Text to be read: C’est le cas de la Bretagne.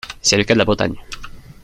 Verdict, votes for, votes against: accepted, 2, 0